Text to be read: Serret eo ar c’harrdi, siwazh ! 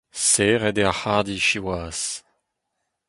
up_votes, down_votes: 4, 0